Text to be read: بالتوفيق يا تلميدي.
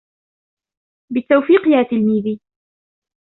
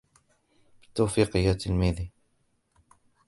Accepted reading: first